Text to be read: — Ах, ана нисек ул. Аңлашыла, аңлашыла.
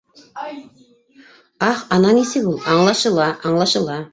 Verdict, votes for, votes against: rejected, 0, 2